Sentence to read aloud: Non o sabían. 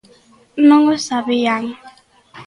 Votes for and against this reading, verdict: 2, 0, accepted